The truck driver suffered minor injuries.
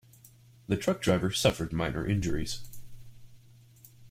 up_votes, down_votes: 2, 0